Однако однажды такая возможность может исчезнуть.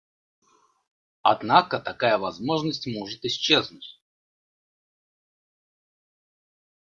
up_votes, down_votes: 1, 2